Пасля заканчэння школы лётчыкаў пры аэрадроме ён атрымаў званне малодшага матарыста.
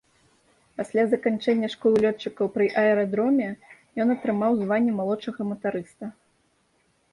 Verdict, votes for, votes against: accepted, 2, 0